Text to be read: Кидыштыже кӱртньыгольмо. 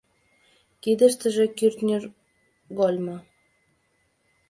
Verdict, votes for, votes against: rejected, 1, 3